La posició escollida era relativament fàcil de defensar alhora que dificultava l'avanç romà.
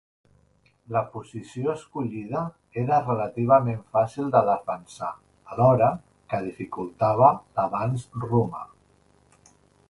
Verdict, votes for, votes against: accepted, 2, 0